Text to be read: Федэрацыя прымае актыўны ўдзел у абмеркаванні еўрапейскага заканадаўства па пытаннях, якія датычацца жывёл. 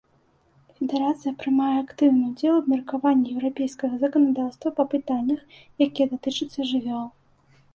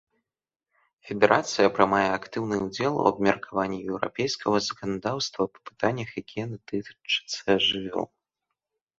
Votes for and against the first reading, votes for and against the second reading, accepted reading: 2, 0, 1, 2, first